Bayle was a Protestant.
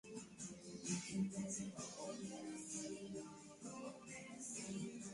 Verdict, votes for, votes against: rejected, 0, 2